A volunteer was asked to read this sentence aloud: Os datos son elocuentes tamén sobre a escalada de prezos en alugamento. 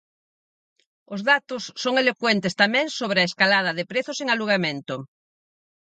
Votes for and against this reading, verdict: 4, 0, accepted